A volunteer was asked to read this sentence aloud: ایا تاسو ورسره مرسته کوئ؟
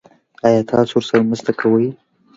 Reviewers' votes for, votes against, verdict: 3, 1, accepted